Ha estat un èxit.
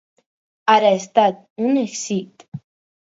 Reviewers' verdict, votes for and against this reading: rejected, 0, 4